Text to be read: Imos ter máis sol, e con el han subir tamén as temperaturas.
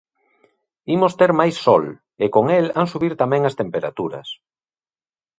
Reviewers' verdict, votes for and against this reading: accepted, 2, 0